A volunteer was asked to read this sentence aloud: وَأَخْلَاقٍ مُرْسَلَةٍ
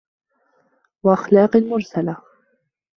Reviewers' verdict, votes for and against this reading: accepted, 2, 0